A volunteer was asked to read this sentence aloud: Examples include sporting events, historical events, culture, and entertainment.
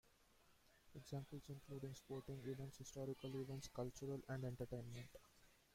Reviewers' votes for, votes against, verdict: 0, 2, rejected